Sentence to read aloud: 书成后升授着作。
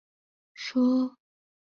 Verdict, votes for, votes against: rejected, 0, 2